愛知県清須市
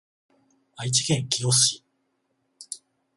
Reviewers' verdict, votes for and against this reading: accepted, 21, 0